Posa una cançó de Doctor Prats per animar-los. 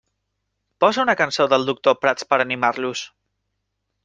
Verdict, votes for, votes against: rejected, 1, 2